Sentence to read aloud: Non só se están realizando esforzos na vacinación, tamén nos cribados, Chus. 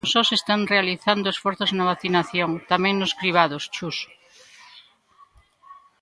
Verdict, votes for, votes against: rejected, 1, 2